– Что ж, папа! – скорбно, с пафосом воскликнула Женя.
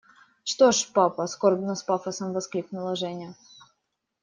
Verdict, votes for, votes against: accepted, 2, 0